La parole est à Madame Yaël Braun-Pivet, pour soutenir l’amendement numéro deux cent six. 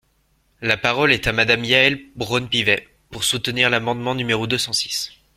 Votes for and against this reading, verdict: 2, 0, accepted